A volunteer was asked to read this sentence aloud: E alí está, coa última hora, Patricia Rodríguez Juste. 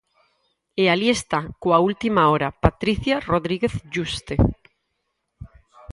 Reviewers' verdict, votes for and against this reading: accepted, 4, 2